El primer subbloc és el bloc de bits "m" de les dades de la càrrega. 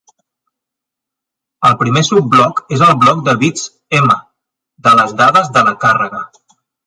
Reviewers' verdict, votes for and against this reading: accepted, 2, 0